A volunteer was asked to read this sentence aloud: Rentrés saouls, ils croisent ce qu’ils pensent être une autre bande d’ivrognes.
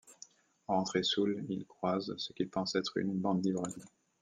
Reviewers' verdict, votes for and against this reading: rejected, 0, 2